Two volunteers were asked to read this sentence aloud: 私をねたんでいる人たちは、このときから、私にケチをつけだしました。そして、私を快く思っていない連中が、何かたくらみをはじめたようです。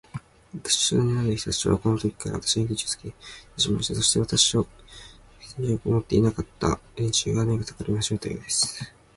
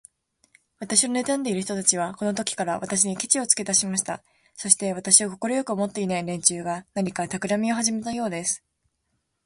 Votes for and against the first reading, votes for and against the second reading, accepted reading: 0, 2, 2, 0, second